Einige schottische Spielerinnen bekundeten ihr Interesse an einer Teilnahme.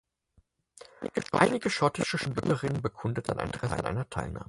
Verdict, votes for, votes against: rejected, 0, 6